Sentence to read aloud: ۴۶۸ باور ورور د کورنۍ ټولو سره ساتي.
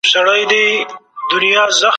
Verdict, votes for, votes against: rejected, 0, 2